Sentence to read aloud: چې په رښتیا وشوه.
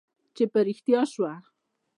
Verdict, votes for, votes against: accepted, 2, 0